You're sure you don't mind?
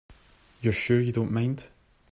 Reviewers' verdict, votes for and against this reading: accepted, 2, 0